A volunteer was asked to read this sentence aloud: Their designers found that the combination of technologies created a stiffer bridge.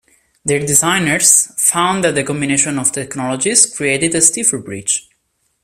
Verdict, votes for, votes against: accepted, 2, 0